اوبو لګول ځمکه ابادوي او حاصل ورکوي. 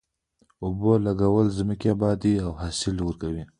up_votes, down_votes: 0, 2